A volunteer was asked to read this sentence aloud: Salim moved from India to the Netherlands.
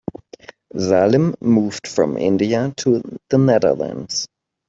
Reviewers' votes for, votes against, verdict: 2, 1, accepted